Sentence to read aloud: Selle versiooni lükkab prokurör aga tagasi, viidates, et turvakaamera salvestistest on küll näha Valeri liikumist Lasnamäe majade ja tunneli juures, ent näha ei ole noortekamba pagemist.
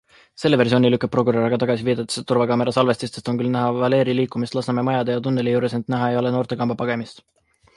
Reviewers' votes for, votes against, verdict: 0, 2, rejected